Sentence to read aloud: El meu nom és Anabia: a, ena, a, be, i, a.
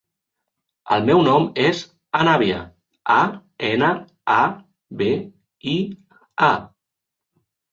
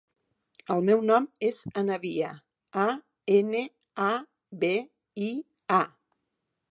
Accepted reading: first